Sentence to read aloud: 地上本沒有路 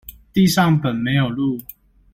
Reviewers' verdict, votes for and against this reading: accepted, 2, 0